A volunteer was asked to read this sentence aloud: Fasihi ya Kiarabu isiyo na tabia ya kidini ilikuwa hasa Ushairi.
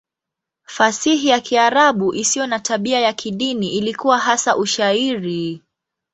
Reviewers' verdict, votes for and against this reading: accepted, 2, 0